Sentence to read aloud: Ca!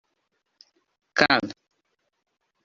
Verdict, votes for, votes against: rejected, 1, 2